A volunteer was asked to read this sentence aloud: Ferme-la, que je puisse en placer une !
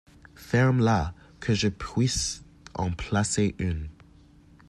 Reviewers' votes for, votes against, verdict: 2, 1, accepted